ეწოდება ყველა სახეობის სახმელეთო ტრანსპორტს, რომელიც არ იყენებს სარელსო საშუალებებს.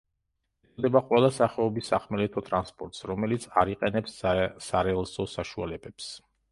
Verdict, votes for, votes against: rejected, 0, 2